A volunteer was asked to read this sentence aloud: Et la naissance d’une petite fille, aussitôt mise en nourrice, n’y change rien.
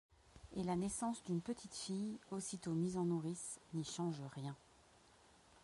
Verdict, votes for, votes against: accepted, 2, 0